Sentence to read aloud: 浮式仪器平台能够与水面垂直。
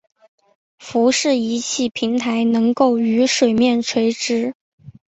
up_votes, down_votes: 2, 0